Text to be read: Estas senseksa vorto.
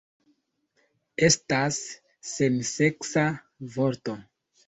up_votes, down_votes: 3, 0